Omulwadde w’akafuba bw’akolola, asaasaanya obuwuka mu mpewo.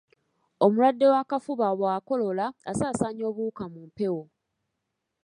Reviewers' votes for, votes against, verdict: 2, 0, accepted